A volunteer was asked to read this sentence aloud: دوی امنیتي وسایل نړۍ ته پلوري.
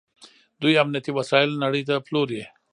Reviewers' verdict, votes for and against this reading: accepted, 2, 0